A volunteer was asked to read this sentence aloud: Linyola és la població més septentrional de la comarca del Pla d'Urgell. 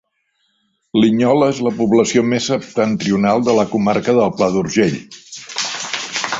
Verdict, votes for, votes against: rejected, 0, 2